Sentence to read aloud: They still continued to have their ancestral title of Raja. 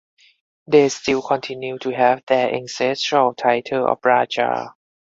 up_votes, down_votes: 6, 0